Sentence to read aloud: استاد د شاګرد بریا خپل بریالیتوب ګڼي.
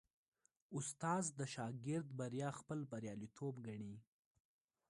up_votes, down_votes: 1, 2